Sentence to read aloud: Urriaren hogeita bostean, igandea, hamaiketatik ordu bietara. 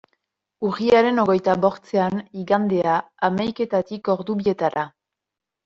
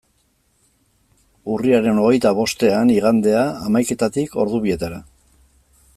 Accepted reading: second